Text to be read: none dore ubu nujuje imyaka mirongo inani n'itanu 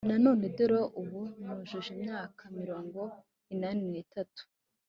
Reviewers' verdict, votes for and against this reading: rejected, 1, 2